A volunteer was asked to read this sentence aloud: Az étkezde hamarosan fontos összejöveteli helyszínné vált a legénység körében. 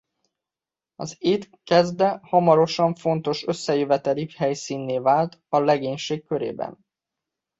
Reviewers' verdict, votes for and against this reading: rejected, 1, 2